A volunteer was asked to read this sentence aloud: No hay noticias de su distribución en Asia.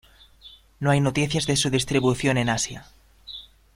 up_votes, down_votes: 2, 0